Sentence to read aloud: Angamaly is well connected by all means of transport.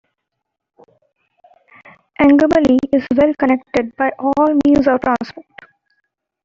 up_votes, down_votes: 1, 2